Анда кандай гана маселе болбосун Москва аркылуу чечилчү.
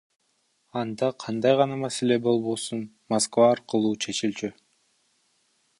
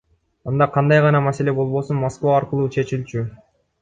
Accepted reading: second